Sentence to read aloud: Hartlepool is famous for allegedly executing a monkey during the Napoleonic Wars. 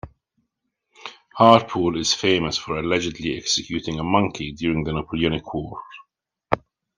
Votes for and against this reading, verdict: 1, 2, rejected